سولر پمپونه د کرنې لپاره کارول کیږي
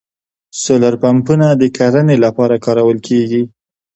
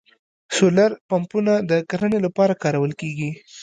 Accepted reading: first